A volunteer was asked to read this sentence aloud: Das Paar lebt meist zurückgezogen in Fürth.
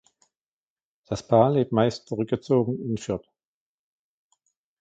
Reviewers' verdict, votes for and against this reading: accepted, 2, 0